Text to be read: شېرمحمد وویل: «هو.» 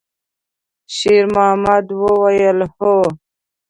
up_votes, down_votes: 0, 2